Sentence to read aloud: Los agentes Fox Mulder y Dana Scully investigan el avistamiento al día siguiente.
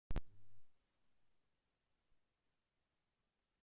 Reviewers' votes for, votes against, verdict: 0, 2, rejected